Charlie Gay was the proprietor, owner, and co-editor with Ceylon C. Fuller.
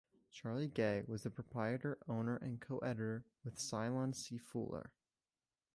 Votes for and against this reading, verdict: 2, 0, accepted